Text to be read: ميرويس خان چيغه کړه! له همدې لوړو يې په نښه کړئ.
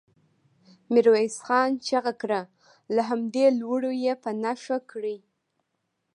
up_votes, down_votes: 2, 0